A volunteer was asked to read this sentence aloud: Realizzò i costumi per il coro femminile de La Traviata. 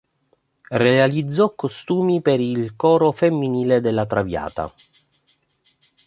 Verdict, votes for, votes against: rejected, 0, 2